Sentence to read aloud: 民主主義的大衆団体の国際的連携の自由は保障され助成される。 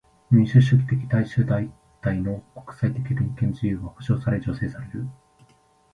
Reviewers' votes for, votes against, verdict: 2, 1, accepted